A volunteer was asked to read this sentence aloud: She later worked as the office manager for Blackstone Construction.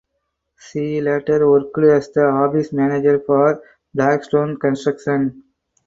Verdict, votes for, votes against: accepted, 4, 2